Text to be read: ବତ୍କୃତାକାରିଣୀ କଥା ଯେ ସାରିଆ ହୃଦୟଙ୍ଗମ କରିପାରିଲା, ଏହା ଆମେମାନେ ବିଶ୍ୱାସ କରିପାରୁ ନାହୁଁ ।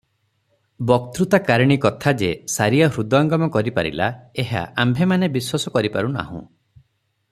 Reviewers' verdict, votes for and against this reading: rejected, 0, 3